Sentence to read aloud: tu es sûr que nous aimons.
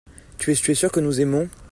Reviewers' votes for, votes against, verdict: 1, 2, rejected